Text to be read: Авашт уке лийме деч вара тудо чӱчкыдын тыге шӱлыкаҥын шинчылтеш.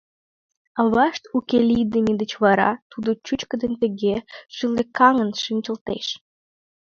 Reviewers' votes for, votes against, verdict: 2, 0, accepted